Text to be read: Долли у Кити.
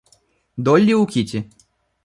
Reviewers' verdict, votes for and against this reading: accepted, 2, 0